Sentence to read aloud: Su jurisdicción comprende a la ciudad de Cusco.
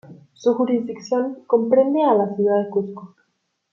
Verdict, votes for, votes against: rejected, 0, 2